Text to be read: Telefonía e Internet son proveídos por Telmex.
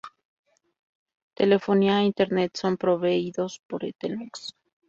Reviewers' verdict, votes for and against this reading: rejected, 0, 2